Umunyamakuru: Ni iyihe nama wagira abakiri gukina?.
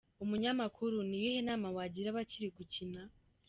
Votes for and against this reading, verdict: 2, 0, accepted